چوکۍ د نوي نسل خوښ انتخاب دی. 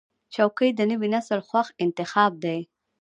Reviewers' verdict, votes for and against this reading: rejected, 0, 2